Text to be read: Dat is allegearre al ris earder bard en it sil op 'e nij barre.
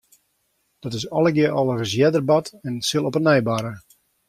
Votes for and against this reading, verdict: 2, 1, accepted